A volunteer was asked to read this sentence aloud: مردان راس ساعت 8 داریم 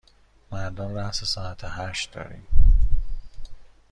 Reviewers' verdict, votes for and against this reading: rejected, 0, 2